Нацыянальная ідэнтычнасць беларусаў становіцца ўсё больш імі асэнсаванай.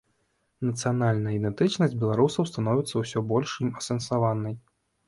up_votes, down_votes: 1, 2